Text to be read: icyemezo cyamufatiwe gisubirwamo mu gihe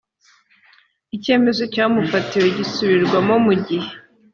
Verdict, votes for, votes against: accepted, 3, 0